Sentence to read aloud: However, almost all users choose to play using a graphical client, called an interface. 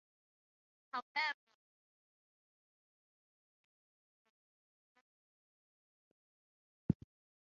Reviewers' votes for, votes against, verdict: 0, 6, rejected